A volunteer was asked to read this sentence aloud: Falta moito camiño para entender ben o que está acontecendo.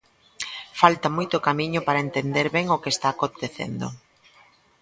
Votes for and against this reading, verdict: 3, 0, accepted